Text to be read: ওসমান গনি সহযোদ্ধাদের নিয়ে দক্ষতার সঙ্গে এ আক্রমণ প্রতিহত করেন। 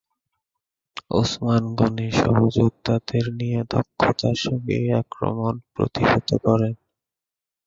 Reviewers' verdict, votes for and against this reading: rejected, 1, 3